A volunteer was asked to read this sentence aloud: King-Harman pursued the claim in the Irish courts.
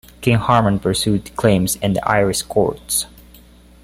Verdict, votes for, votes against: accepted, 2, 0